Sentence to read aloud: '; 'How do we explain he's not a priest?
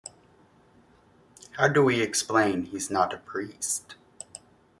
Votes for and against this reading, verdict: 2, 1, accepted